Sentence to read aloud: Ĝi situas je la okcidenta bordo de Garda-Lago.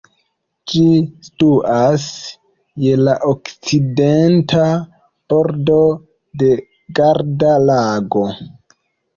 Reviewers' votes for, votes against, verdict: 0, 2, rejected